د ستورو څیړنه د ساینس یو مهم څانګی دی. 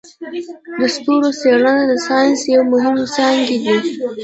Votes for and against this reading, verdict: 0, 2, rejected